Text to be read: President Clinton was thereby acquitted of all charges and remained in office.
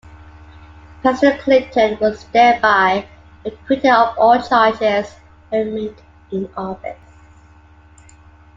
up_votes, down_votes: 0, 2